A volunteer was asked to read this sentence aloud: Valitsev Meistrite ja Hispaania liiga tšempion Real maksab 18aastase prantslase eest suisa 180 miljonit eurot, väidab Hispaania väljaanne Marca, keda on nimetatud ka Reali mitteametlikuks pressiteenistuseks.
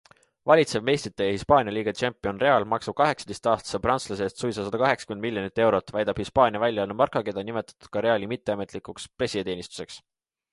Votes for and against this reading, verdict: 0, 2, rejected